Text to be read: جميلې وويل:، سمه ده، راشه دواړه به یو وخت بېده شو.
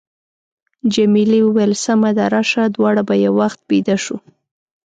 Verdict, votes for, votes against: accepted, 2, 0